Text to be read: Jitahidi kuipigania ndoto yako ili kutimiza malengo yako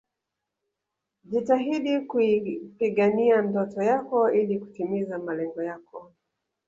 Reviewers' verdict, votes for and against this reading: accepted, 2, 0